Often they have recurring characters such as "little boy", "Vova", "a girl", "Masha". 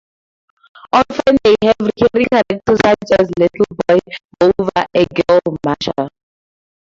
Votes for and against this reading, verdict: 0, 2, rejected